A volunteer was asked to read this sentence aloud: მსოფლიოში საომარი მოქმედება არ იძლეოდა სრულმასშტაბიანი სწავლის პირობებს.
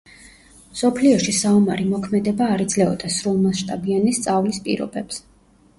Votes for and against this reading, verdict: 2, 0, accepted